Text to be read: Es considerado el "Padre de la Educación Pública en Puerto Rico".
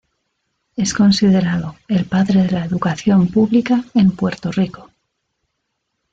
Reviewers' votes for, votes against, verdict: 2, 0, accepted